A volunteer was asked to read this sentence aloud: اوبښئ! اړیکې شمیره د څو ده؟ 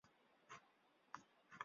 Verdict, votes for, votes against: rejected, 0, 2